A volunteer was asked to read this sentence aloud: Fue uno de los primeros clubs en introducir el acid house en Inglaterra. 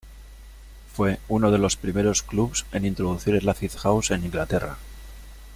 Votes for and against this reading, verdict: 2, 0, accepted